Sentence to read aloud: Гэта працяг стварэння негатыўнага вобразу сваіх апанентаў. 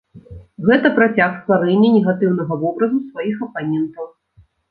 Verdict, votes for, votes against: accepted, 2, 0